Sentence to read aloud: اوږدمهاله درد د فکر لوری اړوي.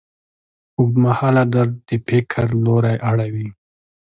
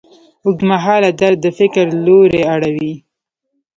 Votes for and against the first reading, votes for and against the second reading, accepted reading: 2, 0, 0, 2, first